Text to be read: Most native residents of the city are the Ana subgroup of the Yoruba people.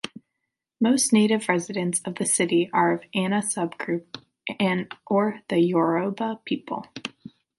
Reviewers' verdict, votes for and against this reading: rejected, 1, 2